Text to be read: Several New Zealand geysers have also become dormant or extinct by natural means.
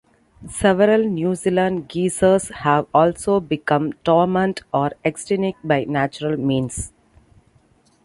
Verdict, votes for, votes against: rejected, 0, 2